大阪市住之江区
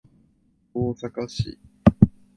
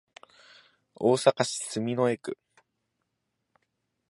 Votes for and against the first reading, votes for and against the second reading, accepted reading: 0, 2, 2, 0, second